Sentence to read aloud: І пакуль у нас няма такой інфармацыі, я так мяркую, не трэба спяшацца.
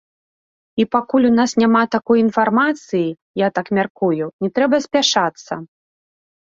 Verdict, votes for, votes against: rejected, 1, 2